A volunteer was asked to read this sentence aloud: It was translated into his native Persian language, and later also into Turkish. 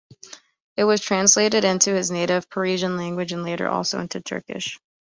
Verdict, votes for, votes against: rejected, 1, 2